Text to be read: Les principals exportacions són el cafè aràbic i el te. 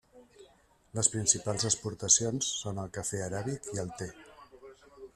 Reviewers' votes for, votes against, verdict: 1, 2, rejected